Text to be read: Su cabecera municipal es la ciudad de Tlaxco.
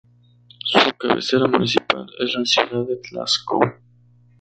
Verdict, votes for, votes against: rejected, 0, 2